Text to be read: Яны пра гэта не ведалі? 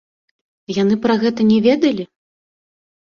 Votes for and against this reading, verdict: 2, 0, accepted